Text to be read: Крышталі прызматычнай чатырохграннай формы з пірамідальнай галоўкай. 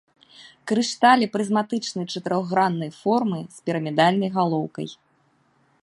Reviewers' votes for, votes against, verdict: 3, 0, accepted